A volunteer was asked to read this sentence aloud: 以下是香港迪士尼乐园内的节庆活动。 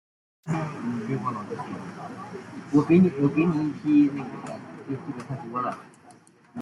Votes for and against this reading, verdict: 0, 2, rejected